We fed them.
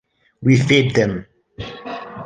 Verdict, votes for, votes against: rejected, 1, 2